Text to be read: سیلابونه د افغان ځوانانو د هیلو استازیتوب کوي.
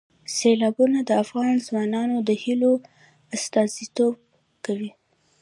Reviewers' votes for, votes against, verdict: 2, 0, accepted